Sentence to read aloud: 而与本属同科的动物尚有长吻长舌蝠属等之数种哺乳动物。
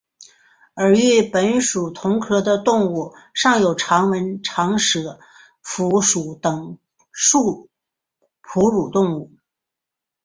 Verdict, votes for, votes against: rejected, 2, 3